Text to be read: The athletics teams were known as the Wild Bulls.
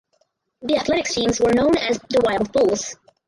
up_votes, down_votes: 2, 6